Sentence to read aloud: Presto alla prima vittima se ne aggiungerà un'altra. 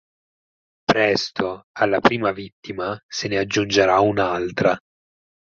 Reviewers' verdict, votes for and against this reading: accepted, 6, 0